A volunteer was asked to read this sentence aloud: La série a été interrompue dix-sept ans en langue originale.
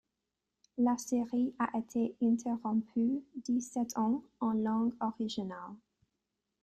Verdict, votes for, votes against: rejected, 1, 2